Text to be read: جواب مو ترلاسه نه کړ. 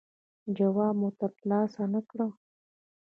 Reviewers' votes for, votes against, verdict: 2, 1, accepted